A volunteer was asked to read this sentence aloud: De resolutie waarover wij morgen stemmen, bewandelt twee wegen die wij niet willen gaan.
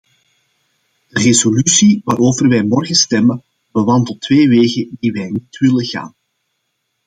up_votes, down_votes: 2, 0